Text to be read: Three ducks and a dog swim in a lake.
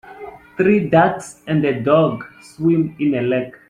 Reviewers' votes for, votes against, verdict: 0, 2, rejected